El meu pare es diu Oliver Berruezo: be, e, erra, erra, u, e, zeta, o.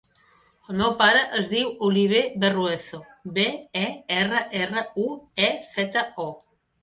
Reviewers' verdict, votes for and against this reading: accepted, 3, 1